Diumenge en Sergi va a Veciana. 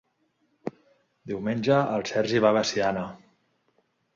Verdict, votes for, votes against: rejected, 0, 2